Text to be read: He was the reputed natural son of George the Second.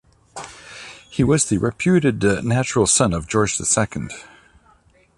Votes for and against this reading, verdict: 2, 1, accepted